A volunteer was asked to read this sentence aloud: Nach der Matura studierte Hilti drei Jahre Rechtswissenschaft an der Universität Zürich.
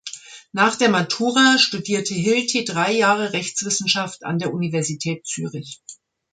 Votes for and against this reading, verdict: 2, 0, accepted